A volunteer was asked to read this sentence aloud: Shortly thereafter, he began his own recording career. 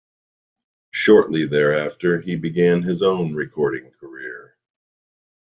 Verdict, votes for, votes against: accepted, 2, 0